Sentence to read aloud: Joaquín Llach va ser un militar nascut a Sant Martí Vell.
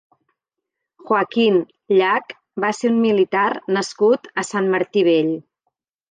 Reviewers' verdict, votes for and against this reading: rejected, 1, 2